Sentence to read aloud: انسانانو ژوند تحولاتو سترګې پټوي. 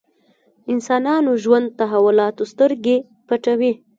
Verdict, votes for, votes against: rejected, 1, 2